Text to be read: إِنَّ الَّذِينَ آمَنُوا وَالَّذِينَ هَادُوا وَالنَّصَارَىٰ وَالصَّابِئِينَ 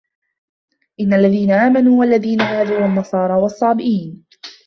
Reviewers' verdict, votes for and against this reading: accepted, 2, 0